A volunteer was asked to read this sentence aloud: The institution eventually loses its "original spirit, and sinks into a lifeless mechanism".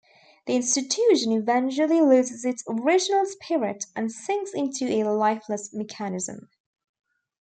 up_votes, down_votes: 2, 1